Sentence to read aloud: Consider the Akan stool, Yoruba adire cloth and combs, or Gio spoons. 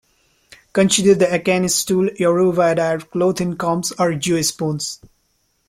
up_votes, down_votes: 1, 2